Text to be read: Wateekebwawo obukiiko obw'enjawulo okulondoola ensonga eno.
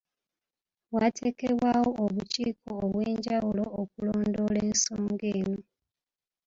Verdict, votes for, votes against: accepted, 2, 0